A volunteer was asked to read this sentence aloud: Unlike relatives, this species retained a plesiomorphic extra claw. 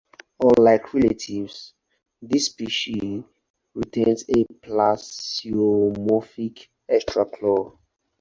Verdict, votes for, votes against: rejected, 2, 4